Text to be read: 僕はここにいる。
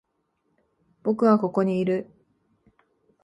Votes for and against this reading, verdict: 2, 0, accepted